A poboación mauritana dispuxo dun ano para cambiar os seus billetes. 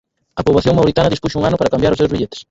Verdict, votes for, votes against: rejected, 2, 6